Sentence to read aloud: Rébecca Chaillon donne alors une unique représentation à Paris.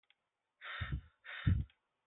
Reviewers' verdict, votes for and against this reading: rejected, 0, 2